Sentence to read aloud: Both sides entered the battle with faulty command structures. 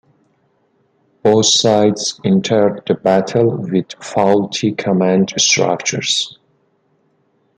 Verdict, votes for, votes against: accepted, 2, 0